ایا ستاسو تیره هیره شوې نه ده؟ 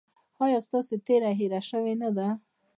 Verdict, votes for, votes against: rejected, 0, 2